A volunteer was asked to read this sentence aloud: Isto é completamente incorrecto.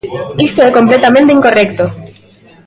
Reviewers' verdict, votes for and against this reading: rejected, 1, 2